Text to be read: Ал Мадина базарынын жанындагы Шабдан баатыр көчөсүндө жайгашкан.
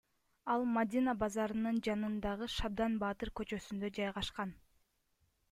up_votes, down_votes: 2, 0